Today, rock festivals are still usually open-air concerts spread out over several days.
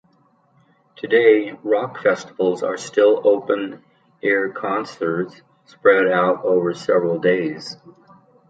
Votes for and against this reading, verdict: 0, 2, rejected